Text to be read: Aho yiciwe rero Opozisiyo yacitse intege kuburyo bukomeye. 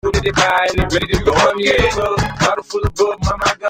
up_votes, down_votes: 0, 2